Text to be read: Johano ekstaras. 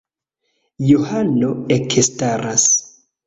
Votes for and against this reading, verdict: 1, 2, rejected